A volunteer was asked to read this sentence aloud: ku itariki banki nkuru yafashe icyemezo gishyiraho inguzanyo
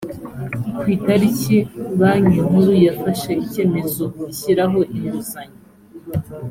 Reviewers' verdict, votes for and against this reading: accepted, 4, 0